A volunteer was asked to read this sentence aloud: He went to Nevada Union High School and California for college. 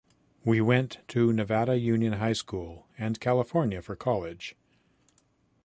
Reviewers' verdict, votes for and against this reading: rejected, 1, 2